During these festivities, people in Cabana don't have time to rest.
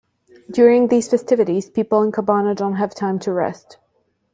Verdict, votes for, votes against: accepted, 2, 1